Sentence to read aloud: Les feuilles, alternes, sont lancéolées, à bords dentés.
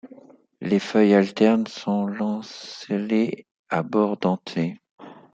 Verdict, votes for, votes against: rejected, 1, 2